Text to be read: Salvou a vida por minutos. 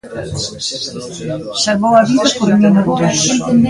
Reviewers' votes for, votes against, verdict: 0, 2, rejected